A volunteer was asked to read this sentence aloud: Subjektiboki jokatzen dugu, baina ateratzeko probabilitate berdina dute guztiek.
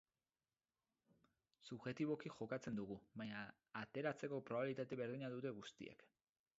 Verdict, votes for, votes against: rejected, 2, 4